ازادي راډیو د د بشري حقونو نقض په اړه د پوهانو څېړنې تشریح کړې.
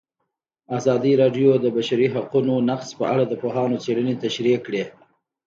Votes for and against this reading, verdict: 2, 0, accepted